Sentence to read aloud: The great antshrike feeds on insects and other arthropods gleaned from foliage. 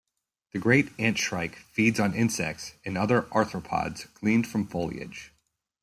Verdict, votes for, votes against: accepted, 2, 0